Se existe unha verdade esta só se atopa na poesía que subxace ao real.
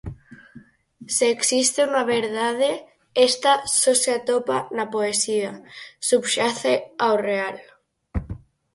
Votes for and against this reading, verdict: 0, 4, rejected